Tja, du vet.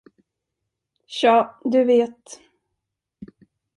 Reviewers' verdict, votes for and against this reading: accepted, 2, 0